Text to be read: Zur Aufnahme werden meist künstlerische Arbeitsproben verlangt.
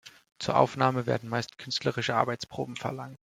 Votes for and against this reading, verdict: 1, 2, rejected